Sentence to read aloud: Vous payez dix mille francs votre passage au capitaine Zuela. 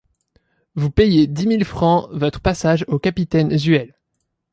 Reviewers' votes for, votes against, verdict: 1, 2, rejected